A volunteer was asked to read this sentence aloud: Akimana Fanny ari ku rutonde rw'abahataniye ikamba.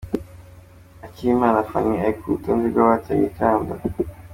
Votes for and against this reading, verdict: 2, 0, accepted